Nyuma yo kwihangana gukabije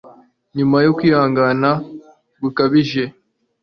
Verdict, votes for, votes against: accepted, 3, 0